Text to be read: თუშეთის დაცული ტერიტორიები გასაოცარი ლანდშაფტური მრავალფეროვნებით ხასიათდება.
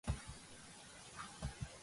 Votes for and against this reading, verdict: 1, 2, rejected